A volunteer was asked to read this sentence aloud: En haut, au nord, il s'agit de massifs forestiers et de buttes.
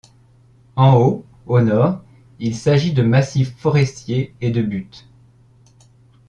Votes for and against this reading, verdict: 2, 0, accepted